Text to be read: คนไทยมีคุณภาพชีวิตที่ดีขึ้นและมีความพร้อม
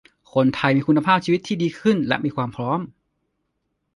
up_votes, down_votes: 2, 0